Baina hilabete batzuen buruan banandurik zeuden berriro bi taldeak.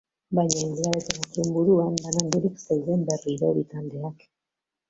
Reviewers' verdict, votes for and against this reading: rejected, 0, 2